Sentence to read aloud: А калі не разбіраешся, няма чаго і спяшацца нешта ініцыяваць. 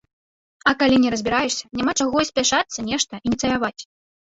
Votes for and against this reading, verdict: 1, 2, rejected